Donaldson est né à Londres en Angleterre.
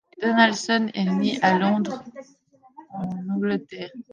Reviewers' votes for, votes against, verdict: 0, 2, rejected